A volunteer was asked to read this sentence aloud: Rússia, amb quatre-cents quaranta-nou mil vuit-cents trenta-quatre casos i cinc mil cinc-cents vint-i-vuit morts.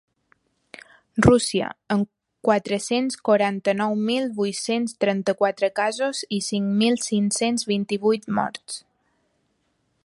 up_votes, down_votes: 3, 0